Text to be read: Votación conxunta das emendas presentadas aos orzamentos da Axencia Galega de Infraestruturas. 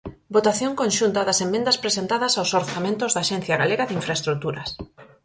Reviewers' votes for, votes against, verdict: 4, 0, accepted